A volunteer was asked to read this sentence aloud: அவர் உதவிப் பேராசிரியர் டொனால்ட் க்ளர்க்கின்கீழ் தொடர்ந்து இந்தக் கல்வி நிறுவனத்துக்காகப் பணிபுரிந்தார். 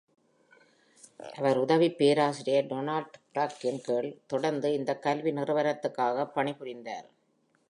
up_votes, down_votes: 2, 0